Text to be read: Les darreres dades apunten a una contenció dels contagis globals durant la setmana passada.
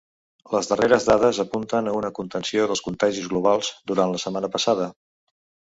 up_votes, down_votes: 2, 0